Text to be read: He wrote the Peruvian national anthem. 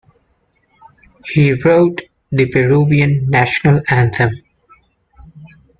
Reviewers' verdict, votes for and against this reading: accepted, 2, 0